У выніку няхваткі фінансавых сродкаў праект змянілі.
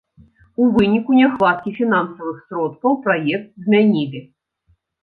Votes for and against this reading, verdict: 2, 0, accepted